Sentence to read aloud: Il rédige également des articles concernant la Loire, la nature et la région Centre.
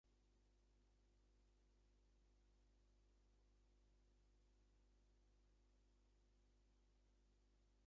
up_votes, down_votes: 0, 2